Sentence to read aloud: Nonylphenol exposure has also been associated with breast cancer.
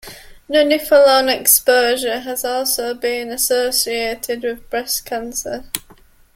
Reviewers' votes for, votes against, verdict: 2, 0, accepted